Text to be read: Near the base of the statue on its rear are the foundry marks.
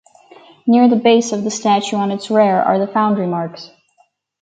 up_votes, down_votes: 4, 0